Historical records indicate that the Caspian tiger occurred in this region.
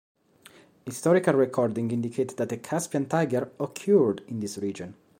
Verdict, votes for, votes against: accepted, 2, 1